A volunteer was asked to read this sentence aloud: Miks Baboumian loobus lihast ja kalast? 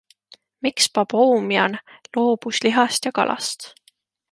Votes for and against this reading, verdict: 2, 0, accepted